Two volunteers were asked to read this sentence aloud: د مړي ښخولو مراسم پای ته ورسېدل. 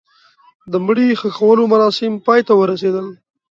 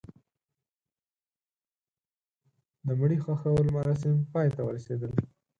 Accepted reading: first